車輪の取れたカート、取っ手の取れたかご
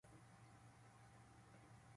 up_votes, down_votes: 0, 2